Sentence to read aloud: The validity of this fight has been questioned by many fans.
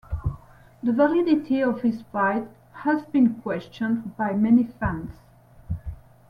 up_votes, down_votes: 1, 2